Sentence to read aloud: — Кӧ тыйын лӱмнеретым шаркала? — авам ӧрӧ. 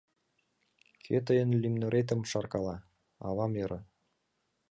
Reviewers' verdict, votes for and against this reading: accepted, 2, 0